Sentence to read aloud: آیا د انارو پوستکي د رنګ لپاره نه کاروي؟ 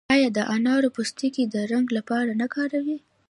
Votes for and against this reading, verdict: 2, 0, accepted